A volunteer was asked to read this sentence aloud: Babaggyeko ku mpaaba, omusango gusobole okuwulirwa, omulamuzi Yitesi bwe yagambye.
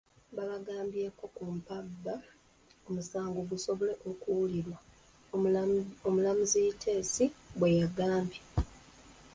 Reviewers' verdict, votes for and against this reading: rejected, 0, 2